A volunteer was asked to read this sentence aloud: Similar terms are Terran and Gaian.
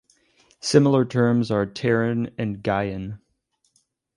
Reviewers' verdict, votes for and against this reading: accepted, 2, 0